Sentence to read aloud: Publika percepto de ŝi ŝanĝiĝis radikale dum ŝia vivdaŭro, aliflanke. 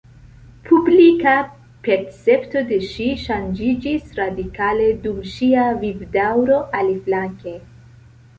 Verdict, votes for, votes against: accepted, 2, 0